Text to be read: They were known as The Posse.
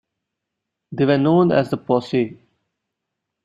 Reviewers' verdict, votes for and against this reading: accepted, 2, 1